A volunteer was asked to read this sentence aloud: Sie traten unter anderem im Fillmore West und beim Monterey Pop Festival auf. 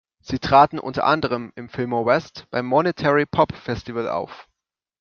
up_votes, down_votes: 1, 2